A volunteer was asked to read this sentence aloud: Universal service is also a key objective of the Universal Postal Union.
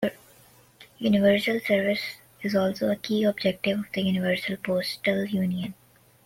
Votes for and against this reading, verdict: 2, 1, accepted